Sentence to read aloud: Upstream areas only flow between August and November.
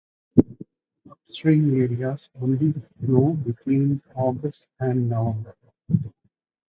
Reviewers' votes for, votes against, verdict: 0, 2, rejected